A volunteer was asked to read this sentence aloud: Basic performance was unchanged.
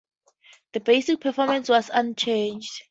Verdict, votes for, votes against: accepted, 2, 0